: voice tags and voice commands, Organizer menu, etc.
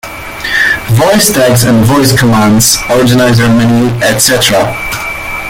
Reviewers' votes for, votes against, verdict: 0, 2, rejected